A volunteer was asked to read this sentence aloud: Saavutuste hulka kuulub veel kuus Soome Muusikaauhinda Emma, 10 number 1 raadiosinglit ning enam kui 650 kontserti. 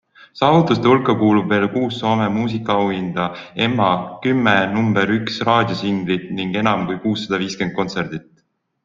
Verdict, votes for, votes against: rejected, 0, 2